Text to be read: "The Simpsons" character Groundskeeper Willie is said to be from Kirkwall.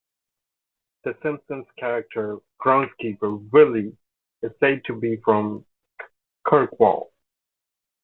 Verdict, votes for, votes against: accepted, 3, 0